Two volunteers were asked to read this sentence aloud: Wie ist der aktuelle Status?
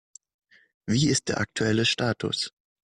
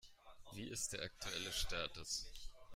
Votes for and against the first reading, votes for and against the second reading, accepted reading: 2, 0, 1, 2, first